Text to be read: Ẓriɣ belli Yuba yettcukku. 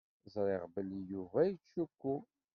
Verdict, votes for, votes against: rejected, 1, 2